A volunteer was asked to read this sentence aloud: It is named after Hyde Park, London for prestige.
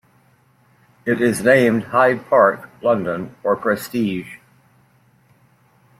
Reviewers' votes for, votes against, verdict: 1, 2, rejected